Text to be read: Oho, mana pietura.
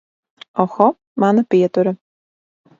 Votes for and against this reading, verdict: 2, 0, accepted